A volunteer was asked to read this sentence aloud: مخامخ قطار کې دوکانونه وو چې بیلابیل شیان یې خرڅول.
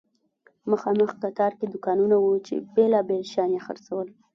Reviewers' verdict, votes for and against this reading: rejected, 1, 2